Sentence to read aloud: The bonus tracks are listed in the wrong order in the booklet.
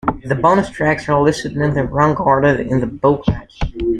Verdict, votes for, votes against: accepted, 2, 1